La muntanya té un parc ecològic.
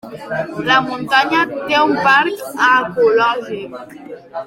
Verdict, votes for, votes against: rejected, 1, 2